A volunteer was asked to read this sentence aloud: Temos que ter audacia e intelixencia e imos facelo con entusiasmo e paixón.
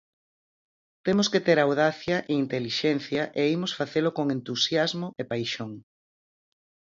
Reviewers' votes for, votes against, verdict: 4, 0, accepted